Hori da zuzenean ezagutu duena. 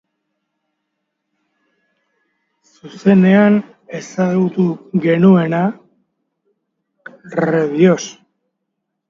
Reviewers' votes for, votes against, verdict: 0, 2, rejected